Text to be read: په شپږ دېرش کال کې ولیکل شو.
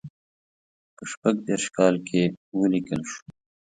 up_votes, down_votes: 2, 0